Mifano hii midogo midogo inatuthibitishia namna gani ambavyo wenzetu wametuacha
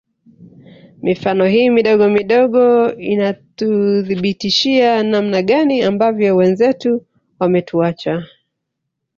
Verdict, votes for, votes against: rejected, 1, 2